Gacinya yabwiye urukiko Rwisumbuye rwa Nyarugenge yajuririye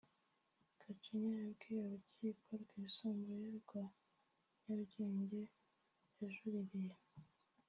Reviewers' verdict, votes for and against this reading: rejected, 1, 2